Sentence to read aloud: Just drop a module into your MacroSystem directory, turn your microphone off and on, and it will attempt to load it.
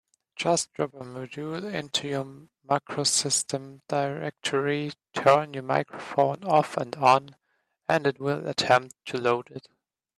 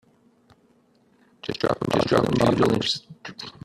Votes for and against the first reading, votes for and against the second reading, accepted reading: 2, 1, 0, 2, first